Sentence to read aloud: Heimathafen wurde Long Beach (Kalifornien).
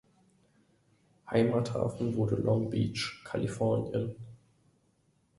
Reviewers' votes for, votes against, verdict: 2, 0, accepted